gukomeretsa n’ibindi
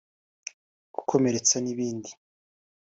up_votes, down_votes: 2, 0